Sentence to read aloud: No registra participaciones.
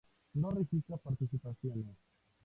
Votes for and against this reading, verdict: 2, 0, accepted